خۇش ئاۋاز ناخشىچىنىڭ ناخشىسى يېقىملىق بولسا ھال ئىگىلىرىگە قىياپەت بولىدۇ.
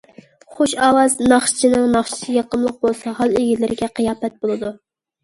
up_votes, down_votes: 2, 0